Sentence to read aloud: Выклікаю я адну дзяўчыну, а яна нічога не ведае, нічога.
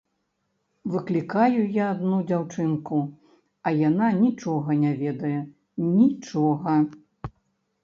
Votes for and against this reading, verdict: 2, 0, accepted